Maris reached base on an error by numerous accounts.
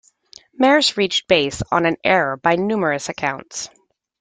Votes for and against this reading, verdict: 2, 1, accepted